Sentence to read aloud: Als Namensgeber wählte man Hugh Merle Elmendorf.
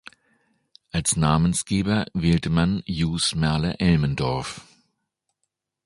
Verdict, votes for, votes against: rejected, 0, 2